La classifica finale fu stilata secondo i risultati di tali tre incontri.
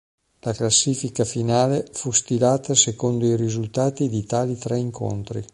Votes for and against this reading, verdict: 2, 0, accepted